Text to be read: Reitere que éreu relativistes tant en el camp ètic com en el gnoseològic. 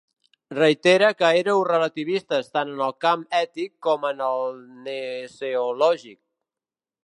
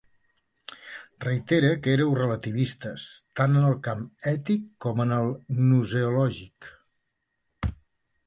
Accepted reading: second